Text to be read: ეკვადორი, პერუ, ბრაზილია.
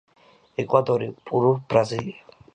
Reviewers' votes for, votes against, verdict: 1, 2, rejected